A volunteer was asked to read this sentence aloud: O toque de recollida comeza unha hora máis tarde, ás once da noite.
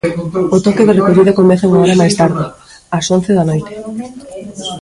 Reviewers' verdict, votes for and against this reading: rejected, 0, 2